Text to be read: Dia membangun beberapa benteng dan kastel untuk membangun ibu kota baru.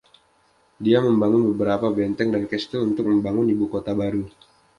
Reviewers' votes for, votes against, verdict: 2, 0, accepted